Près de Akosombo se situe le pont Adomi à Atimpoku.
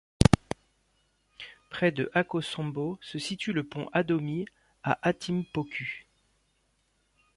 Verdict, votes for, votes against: accepted, 3, 0